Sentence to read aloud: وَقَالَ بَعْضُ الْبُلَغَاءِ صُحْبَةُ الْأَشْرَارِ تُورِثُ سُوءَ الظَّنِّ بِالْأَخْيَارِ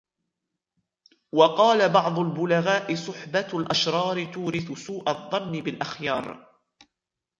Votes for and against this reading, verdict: 2, 0, accepted